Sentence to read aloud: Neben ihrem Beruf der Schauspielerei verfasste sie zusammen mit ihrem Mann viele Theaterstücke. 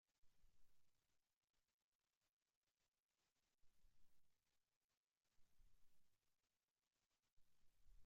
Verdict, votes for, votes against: rejected, 0, 2